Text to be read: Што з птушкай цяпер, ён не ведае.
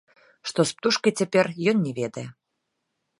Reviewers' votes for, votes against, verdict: 0, 2, rejected